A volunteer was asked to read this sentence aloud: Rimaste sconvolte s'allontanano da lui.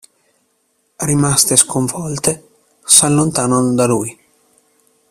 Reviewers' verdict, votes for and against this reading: accepted, 2, 0